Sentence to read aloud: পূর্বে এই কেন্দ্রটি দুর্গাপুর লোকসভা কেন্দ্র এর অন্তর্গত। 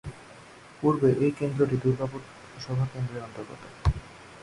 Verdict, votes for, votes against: accepted, 2, 0